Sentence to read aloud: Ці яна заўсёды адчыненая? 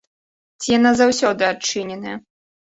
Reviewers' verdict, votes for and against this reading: accepted, 2, 0